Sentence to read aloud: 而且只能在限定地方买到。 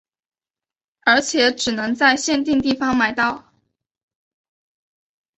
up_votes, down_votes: 2, 0